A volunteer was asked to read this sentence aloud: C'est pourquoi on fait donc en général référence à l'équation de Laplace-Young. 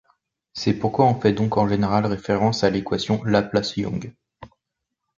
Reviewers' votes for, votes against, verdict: 1, 2, rejected